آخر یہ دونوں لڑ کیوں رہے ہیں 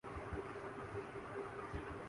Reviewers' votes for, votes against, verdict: 0, 2, rejected